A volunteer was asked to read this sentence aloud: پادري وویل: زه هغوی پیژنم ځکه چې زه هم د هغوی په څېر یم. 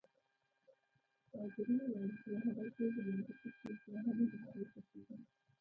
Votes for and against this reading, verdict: 1, 2, rejected